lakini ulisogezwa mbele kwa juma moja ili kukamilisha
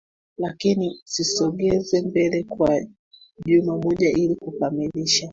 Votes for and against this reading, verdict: 1, 2, rejected